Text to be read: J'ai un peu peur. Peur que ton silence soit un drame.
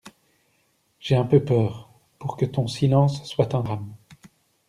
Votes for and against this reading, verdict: 0, 2, rejected